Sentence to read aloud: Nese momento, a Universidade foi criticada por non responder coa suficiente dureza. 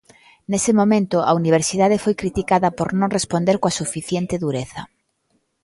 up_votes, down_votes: 3, 0